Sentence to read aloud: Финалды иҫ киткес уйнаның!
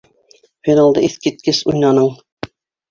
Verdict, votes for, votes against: accepted, 2, 1